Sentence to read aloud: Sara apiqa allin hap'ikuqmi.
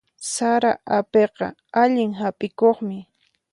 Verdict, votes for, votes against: accepted, 4, 0